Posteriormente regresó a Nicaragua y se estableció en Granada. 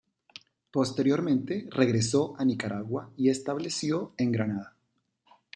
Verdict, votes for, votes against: rejected, 0, 2